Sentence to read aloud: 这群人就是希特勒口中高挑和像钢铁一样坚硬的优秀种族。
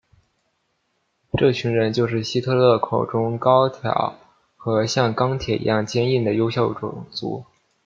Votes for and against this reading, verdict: 2, 0, accepted